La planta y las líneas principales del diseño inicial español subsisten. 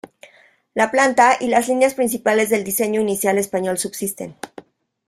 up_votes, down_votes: 2, 0